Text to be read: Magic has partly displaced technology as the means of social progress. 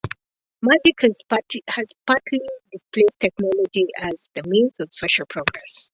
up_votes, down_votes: 0, 2